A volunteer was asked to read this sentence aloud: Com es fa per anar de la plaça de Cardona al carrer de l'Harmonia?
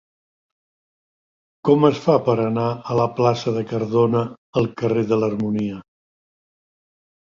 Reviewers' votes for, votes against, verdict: 1, 2, rejected